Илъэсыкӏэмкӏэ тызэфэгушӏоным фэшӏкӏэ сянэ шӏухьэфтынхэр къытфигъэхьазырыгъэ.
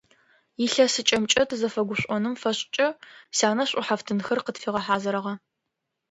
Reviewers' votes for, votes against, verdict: 2, 0, accepted